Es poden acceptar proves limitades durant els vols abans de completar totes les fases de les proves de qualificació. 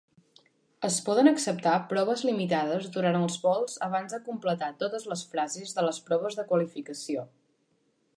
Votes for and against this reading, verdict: 1, 2, rejected